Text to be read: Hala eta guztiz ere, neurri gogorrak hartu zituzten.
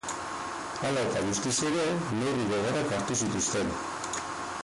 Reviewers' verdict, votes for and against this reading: rejected, 2, 4